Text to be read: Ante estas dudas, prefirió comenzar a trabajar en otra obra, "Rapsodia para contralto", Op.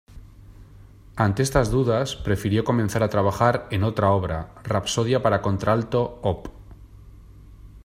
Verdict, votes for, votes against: accepted, 2, 1